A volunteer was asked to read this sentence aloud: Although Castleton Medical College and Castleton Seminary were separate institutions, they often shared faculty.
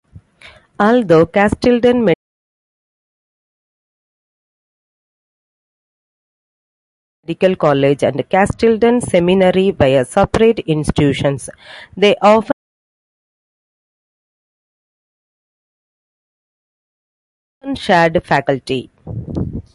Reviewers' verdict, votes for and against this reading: rejected, 0, 2